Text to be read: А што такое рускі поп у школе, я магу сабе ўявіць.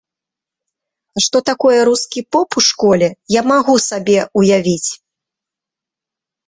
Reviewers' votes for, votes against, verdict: 2, 0, accepted